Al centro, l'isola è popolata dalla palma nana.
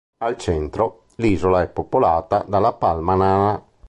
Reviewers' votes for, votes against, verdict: 1, 2, rejected